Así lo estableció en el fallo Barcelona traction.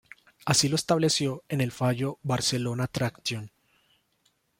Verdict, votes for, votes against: accepted, 2, 0